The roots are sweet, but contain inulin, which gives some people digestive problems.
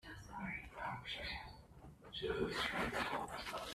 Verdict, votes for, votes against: rejected, 0, 2